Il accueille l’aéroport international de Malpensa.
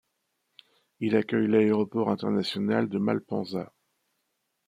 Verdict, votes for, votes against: accepted, 2, 0